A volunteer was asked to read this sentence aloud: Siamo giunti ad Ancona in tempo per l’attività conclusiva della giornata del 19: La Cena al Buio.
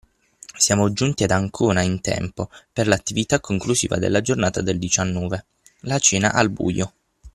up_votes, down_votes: 0, 2